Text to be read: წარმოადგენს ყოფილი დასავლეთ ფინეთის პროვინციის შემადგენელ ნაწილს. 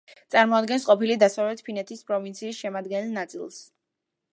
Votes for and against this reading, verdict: 2, 0, accepted